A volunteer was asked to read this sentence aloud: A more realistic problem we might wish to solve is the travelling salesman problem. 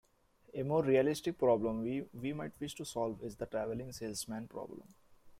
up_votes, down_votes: 0, 2